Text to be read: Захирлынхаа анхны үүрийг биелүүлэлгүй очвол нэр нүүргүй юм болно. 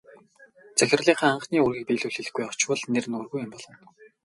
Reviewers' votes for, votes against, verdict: 10, 0, accepted